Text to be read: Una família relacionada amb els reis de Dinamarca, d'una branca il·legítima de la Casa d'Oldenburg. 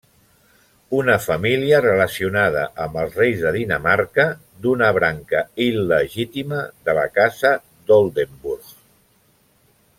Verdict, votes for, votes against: rejected, 1, 2